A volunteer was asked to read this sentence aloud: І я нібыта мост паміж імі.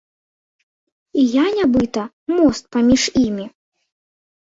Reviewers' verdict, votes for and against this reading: accepted, 2, 0